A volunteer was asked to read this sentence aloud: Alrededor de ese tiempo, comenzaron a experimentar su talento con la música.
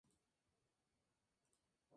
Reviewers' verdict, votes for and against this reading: rejected, 0, 2